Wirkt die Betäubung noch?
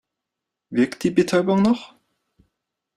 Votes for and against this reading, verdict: 2, 0, accepted